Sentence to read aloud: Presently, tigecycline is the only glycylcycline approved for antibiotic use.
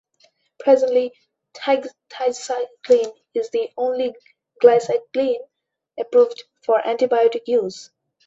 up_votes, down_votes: 0, 2